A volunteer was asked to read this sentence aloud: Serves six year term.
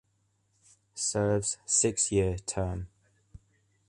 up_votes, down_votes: 2, 0